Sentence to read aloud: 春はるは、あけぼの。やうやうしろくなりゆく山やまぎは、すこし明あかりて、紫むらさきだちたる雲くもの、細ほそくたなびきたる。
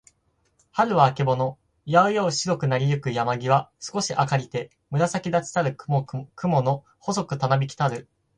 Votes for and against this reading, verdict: 4, 2, accepted